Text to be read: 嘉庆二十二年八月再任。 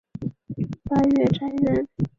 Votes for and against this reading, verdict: 0, 2, rejected